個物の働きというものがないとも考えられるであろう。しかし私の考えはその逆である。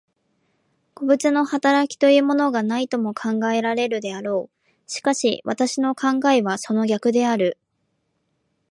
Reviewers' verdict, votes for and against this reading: accepted, 2, 1